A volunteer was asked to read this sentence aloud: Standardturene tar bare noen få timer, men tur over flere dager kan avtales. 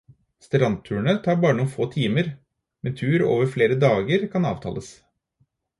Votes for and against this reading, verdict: 2, 4, rejected